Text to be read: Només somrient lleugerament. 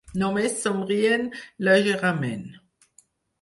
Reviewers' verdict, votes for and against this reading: rejected, 2, 4